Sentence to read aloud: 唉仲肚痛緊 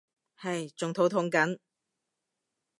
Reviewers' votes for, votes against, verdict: 2, 0, accepted